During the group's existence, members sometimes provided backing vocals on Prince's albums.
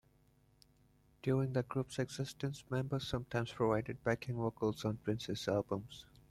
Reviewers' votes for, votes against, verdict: 2, 0, accepted